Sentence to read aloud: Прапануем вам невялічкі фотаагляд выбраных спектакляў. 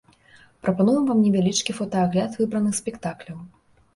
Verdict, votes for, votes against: accepted, 4, 0